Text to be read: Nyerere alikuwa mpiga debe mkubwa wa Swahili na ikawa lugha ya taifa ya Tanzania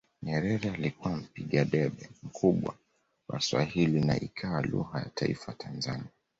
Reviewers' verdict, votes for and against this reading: accepted, 2, 0